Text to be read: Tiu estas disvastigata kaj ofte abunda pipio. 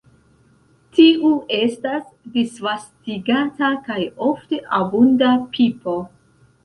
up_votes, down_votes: 0, 2